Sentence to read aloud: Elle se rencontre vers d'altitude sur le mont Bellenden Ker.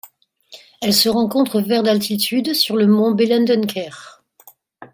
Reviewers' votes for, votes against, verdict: 2, 0, accepted